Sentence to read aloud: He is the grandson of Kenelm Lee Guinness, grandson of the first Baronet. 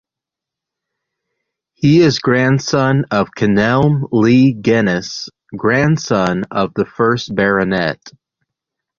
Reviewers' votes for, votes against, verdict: 0, 2, rejected